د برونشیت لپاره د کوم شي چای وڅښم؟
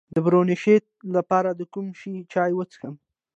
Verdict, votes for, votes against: accepted, 2, 1